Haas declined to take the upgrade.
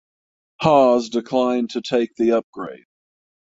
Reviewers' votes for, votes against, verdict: 3, 6, rejected